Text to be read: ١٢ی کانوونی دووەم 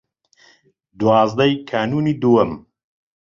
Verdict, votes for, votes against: rejected, 0, 2